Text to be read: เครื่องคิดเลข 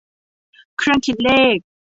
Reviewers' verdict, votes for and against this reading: accepted, 2, 1